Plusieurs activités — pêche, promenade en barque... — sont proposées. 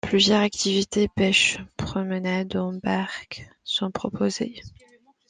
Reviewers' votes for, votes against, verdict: 2, 0, accepted